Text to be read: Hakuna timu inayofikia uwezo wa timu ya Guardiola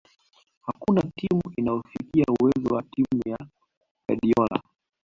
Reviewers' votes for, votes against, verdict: 2, 1, accepted